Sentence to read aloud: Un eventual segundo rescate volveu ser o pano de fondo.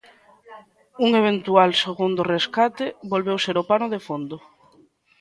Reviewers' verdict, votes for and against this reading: rejected, 1, 2